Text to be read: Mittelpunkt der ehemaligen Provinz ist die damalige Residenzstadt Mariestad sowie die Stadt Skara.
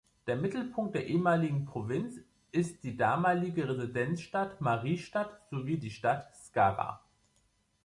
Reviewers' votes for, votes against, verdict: 4, 5, rejected